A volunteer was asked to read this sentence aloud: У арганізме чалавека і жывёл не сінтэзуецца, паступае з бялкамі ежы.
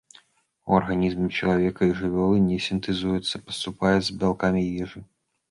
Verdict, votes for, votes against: rejected, 1, 2